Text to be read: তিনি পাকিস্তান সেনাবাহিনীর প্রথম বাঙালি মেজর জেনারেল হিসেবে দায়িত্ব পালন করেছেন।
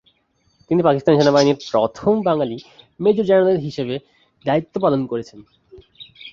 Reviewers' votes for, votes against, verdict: 2, 0, accepted